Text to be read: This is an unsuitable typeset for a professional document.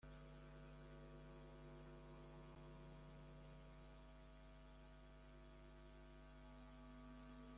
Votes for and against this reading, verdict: 0, 2, rejected